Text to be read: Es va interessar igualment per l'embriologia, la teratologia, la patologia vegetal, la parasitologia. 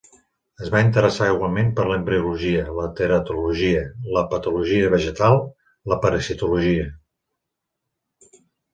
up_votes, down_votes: 3, 0